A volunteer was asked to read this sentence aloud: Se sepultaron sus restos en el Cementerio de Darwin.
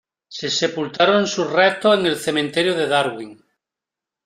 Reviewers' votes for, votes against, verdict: 2, 0, accepted